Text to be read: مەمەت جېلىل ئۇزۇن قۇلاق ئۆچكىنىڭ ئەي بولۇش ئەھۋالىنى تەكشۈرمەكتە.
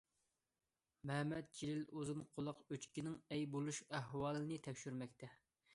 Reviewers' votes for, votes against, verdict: 2, 0, accepted